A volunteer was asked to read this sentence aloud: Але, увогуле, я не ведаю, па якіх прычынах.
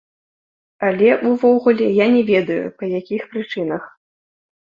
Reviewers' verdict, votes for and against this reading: accepted, 2, 0